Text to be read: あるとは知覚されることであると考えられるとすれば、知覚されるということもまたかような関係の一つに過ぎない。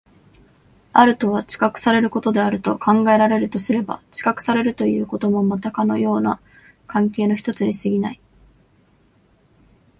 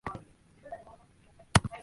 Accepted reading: first